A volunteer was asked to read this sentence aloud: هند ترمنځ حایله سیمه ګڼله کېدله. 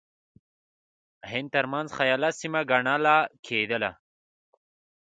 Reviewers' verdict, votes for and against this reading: rejected, 1, 2